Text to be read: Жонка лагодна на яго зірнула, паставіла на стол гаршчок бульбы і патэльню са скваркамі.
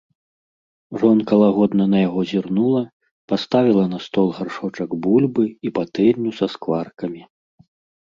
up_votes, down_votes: 1, 2